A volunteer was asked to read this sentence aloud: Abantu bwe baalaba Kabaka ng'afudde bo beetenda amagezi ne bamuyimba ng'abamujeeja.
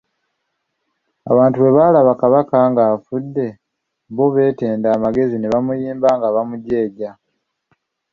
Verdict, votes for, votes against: accepted, 3, 1